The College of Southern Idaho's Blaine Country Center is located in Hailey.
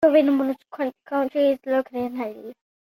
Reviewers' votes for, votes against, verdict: 0, 2, rejected